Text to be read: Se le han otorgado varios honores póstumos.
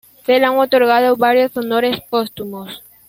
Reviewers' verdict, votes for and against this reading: rejected, 0, 2